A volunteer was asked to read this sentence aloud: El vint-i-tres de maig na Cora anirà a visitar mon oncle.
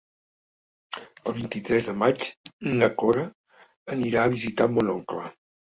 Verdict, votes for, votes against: accepted, 3, 1